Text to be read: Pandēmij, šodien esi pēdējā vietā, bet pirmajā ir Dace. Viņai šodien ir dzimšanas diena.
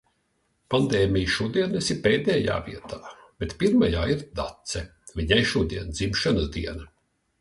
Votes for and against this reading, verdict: 1, 2, rejected